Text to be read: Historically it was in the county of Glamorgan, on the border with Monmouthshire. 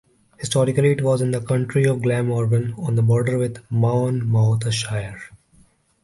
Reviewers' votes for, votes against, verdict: 2, 1, accepted